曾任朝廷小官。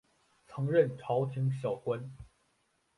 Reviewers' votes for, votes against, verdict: 3, 0, accepted